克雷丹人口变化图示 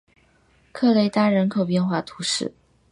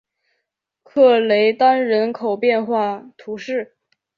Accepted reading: second